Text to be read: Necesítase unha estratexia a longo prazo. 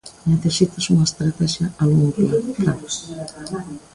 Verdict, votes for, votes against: rejected, 1, 2